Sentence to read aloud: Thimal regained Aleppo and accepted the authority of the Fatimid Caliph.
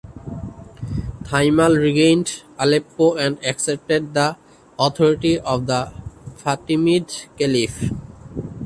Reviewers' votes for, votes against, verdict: 2, 0, accepted